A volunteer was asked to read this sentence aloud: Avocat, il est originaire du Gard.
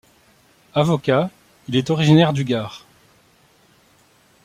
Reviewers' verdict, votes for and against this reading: accepted, 2, 0